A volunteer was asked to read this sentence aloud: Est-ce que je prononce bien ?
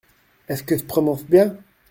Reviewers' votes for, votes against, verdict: 1, 2, rejected